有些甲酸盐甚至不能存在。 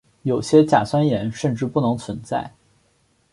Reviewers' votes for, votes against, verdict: 4, 0, accepted